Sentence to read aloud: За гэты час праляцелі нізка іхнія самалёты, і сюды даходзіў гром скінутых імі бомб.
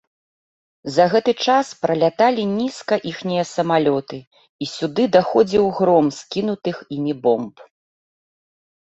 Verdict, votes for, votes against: rejected, 0, 2